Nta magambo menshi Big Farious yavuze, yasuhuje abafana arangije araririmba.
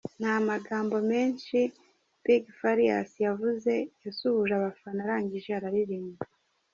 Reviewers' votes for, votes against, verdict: 3, 0, accepted